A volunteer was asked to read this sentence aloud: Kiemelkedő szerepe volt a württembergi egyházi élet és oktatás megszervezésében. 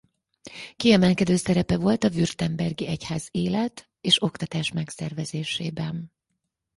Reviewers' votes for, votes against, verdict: 2, 2, rejected